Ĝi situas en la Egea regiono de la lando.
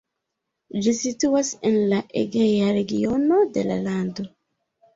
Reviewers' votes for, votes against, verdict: 0, 2, rejected